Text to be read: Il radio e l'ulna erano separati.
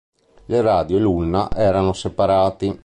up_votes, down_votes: 2, 0